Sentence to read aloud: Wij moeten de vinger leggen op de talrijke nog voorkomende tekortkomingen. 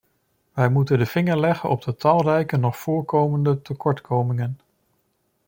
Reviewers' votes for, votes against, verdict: 2, 0, accepted